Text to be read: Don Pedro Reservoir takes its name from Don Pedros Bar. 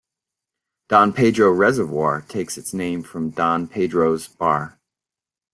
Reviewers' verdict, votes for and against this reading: accepted, 3, 0